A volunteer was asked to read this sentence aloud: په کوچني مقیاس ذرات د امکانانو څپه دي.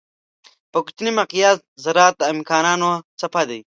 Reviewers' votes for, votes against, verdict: 0, 2, rejected